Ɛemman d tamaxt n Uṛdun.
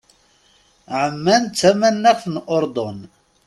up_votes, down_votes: 1, 2